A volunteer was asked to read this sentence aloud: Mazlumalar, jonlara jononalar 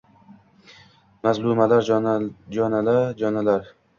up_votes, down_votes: 0, 2